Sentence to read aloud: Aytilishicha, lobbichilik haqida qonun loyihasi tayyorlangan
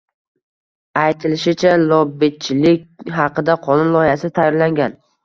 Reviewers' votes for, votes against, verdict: 1, 2, rejected